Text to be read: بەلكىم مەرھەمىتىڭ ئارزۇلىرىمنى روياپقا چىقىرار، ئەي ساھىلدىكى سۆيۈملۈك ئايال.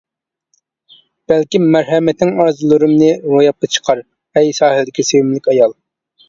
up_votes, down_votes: 0, 2